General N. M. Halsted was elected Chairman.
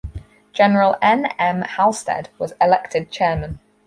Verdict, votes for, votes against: accepted, 4, 0